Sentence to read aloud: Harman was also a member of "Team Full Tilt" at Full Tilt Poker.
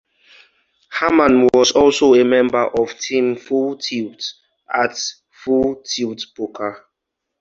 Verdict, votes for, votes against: accepted, 2, 0